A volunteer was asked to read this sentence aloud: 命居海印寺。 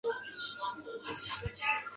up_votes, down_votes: 1, 5